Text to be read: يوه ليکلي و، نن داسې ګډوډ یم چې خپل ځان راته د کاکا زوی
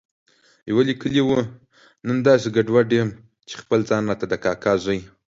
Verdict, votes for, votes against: accepted, 2, 0